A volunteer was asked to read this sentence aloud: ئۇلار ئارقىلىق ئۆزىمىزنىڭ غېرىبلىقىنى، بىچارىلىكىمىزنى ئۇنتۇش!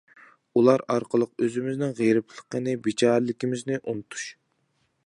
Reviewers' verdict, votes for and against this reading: accepted, 2, 0